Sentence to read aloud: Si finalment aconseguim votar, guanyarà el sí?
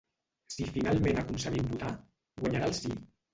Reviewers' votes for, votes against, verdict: 0, 2, rejected